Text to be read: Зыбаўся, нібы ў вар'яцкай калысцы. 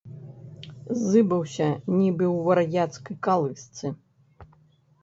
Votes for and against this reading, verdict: 0, 2, rejected